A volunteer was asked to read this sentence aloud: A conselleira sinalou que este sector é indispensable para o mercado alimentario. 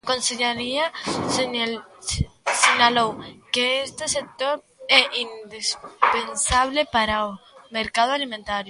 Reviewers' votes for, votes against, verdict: 0, 2, rejected